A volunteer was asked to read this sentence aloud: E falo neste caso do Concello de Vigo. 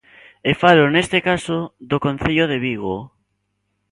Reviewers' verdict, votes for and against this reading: accepted, 2, 0